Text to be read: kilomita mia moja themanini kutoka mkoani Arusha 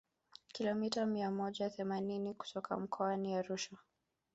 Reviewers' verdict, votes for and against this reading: rejected, 1, 2